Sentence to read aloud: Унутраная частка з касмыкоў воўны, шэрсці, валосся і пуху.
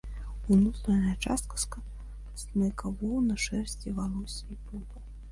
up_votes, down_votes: 0, 2